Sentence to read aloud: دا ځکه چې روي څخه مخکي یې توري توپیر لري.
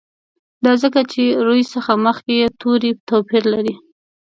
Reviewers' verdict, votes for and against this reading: accepted, 2, 0